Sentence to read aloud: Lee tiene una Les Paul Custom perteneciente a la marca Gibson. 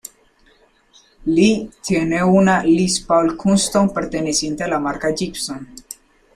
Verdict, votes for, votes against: accepted, 2, 0